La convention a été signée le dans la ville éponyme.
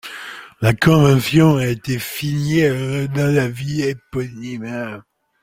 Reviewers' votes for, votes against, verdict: 1, 2, rejected